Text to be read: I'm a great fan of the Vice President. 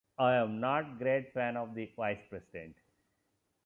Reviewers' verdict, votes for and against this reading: rejected, 0, 2